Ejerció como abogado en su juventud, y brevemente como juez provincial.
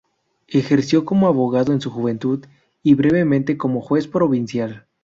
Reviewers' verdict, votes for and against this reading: accepted, 4, 2